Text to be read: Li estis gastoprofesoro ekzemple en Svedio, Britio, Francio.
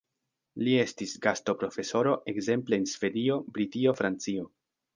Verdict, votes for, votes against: accepted, 2, 0